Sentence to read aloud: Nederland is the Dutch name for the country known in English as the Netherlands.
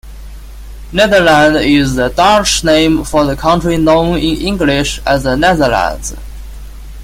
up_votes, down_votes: 2, 0